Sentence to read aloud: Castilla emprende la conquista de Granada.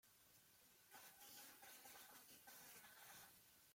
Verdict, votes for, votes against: rejected, 0, 2